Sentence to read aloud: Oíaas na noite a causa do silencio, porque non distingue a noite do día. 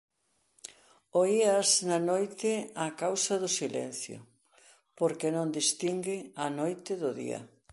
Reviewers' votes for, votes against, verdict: 2, 0, accepted